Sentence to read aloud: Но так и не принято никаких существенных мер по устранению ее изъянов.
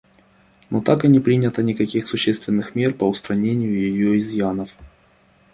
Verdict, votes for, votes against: accepted, 2, 0